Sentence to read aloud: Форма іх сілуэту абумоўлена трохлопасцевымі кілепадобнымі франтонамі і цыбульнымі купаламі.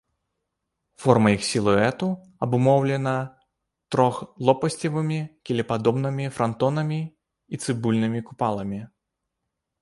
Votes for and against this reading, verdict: 0, 2, rejected